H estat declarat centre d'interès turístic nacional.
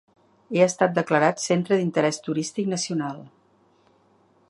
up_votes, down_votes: 3, 4